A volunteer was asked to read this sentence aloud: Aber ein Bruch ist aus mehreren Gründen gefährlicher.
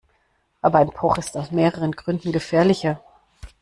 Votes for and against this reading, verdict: 2, 0, accepted